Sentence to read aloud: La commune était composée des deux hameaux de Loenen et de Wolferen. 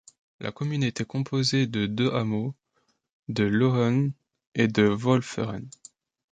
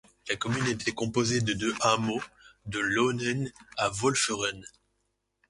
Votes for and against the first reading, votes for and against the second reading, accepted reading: 2, 0, 2, 3, first